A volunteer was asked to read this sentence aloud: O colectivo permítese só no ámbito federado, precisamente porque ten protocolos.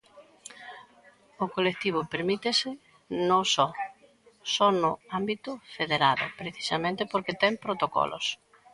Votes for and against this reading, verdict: 0, 2, rejected